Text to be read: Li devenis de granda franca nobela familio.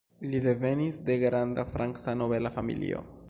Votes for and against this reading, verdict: 1, 2, rejected